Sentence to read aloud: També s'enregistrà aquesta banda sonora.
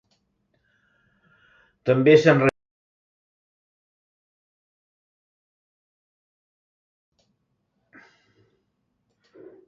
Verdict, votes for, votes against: rejected, 1, 2